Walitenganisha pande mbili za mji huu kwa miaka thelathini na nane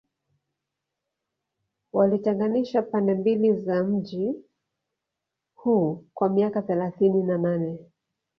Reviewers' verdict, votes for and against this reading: accepted, 2, 0